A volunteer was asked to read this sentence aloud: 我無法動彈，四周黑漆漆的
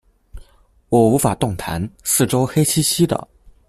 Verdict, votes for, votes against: accepted, 2, 0